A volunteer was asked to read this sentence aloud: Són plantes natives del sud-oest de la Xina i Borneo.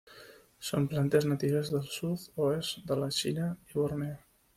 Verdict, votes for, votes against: rejected, 0, 2